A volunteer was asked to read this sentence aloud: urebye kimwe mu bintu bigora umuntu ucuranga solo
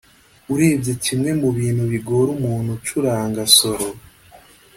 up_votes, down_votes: 2, 0